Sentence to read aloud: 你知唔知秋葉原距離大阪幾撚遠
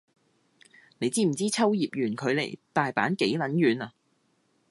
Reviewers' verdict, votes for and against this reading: rejected, 0, 2